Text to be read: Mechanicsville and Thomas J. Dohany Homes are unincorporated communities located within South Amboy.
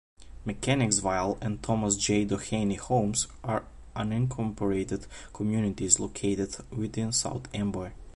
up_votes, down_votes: 0, 2